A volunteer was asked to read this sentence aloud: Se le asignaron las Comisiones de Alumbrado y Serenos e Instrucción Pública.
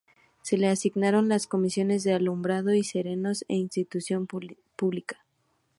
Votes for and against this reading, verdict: 0, 2, rejected